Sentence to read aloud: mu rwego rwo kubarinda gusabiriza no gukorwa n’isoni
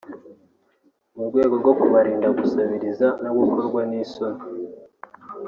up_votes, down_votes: 1, 2